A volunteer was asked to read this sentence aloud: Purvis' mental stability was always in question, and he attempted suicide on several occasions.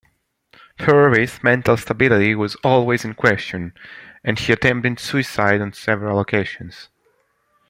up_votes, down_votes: 2, 0